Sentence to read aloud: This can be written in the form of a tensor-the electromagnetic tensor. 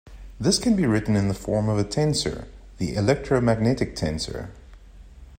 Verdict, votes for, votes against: accepted, 2, 0